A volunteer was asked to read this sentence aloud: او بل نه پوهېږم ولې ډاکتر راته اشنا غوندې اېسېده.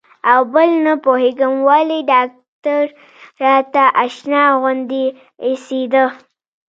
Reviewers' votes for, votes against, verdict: 0, 2, rejected